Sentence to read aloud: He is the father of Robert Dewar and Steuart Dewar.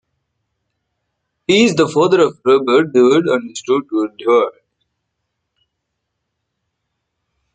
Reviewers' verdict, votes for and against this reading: rejected, 0, 2